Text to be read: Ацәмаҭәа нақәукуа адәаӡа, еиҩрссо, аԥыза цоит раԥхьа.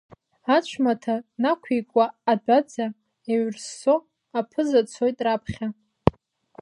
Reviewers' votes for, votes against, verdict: 1, 2, rejected